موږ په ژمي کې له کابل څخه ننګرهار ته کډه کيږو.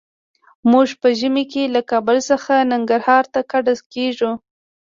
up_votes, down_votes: 2, 0